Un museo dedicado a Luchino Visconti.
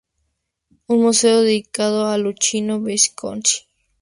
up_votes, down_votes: 4, 0